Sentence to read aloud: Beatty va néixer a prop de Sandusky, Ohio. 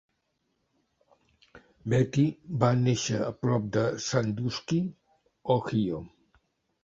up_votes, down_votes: 1, 2